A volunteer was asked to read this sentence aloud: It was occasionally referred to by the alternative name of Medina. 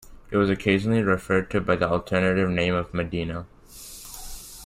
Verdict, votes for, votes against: accepted, 2, 0